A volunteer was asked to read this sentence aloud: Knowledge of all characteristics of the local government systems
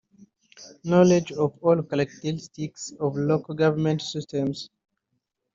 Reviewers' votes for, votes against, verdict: 1, 3, rejected